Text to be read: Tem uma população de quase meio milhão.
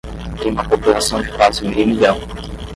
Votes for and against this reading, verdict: 10, 0, accepted